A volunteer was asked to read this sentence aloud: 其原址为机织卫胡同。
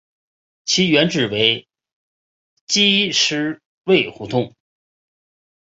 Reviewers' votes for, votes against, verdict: 2, 6, rejected